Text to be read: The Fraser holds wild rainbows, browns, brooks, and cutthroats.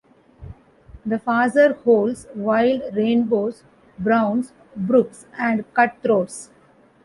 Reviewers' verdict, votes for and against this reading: accepted, 2, 1